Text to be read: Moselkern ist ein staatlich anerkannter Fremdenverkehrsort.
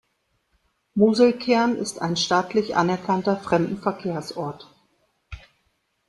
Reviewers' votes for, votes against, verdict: 2, 0, accepted